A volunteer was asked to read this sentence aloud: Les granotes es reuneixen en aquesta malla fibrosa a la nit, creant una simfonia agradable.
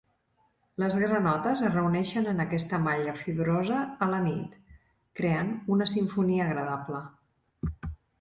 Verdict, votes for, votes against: accepted, 3, 0